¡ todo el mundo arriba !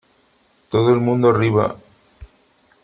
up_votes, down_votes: 3, 0